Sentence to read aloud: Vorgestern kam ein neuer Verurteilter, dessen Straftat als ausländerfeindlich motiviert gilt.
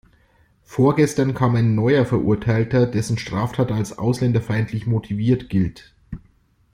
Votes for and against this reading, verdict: 2, 0, accepted